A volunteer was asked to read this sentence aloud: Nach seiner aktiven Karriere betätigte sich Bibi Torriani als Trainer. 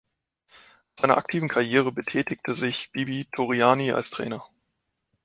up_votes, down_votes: 0, 2